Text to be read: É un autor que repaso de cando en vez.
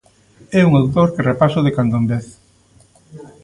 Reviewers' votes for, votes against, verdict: 1, 2, rejected